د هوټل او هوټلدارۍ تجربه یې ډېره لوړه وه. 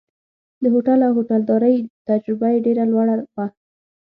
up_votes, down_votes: 3, 6